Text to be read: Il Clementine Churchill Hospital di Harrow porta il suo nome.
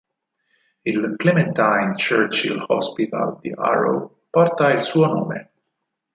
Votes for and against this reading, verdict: 4, 0, accepted